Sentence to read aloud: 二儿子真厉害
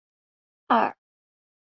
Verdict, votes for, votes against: rejected, 0, 3